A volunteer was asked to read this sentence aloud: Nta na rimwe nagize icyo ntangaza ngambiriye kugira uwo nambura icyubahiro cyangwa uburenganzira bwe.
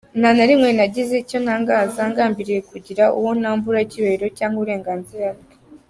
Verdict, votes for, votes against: accepted, 2, 0